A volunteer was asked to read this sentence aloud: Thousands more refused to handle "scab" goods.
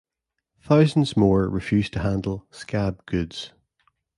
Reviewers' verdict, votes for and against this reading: accepted, 2, 0